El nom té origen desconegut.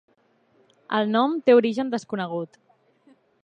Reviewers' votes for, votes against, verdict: 3, 0, accepted